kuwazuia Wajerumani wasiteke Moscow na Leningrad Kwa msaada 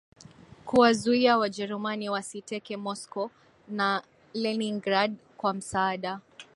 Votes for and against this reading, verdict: 6, 1, accepted